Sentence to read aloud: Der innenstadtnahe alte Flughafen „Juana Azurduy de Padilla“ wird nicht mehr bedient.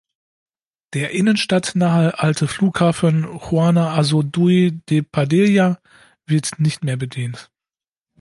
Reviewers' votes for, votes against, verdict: 2, 0, accepted